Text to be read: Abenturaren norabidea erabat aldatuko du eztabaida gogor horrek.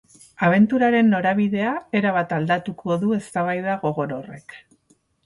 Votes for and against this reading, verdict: 4, 0, accepted